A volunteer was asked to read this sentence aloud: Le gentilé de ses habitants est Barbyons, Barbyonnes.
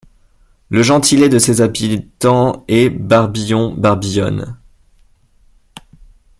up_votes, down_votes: 1, 2